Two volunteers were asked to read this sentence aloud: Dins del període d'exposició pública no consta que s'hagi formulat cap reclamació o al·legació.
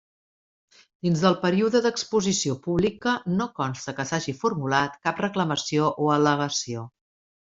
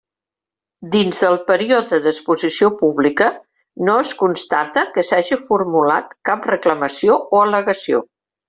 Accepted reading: first